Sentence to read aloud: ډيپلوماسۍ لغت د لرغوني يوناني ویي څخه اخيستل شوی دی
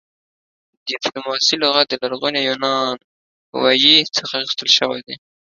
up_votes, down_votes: 2, 0